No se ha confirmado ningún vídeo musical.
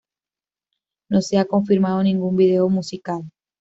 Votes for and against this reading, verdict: 0, 2, rejected